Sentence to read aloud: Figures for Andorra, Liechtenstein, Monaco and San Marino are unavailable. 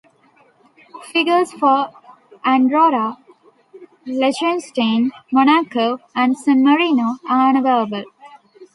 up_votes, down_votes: 0, 2